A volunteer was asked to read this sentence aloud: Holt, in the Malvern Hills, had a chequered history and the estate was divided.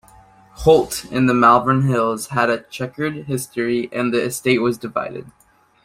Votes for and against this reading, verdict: 2, 0, accepted